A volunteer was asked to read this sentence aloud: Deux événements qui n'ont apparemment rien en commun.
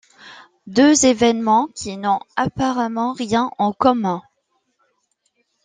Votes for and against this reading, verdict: 2, 0, accepted